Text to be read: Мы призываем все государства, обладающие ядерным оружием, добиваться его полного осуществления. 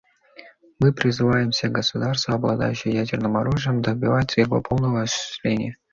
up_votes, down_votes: 2, 1